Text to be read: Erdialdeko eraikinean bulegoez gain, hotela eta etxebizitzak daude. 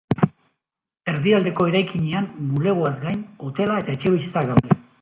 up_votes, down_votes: 2, 0